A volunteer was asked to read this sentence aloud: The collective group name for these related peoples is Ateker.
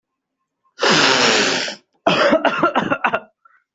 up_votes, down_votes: 0, 2